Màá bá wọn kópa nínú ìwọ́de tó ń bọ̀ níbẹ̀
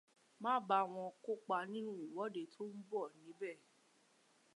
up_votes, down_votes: 1, 2